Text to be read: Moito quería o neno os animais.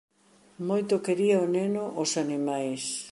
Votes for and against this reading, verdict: 2, 0, accepted